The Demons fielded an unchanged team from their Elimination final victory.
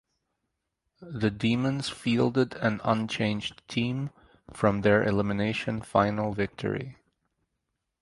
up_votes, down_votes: 2, 2